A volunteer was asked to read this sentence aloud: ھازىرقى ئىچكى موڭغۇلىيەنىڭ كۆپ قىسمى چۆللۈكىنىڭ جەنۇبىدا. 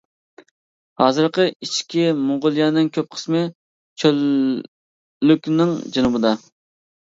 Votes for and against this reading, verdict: 0, 2, rejected